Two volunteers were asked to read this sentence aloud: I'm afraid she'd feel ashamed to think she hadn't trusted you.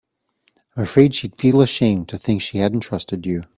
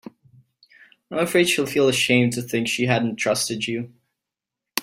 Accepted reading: first